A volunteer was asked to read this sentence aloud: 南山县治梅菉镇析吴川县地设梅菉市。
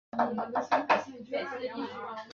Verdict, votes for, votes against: rejected, 0, 2